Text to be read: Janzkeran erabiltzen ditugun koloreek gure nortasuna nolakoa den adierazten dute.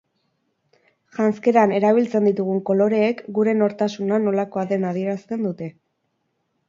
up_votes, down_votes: 6, 0